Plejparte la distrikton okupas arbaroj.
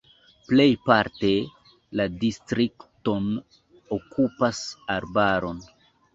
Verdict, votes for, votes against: accepted, 2, 1